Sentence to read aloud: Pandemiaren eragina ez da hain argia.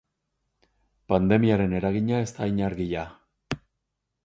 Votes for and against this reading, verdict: 6, 0, accepted